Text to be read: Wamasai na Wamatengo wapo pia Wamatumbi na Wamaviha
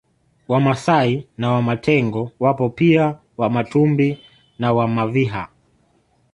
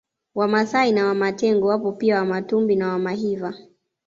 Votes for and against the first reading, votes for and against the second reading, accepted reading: 2, 0, 1, 2, first